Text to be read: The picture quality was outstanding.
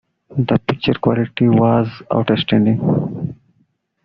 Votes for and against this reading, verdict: 0, 2, rejected